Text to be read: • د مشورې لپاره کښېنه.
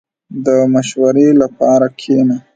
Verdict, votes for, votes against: rejected, 1, 2